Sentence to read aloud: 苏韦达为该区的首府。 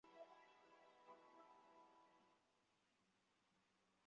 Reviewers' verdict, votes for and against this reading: rejected, 0, 2